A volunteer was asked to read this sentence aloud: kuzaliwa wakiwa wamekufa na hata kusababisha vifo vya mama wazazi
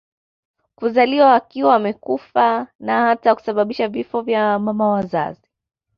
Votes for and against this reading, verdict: 2, 0, accepted